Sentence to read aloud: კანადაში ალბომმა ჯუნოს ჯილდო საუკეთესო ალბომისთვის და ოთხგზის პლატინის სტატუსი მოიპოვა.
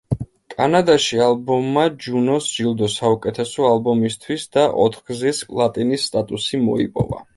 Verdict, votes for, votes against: accepted, 2, 0